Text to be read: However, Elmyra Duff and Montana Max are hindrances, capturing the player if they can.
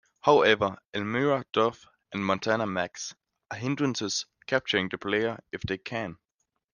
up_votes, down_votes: 2, 0